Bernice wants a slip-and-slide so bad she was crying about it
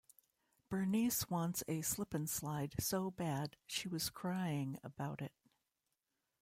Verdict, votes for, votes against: rejected, 0, 2